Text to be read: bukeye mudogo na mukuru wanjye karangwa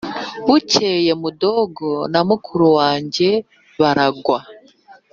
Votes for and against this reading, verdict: 0, 2, rejected